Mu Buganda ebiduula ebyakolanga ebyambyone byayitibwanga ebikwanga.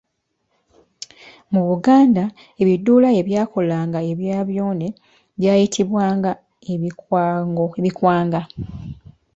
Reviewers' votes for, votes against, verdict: 1, 2, rejected